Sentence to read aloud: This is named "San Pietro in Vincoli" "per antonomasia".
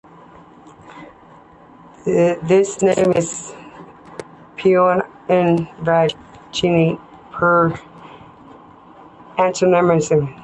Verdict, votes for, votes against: rejected, 0, 2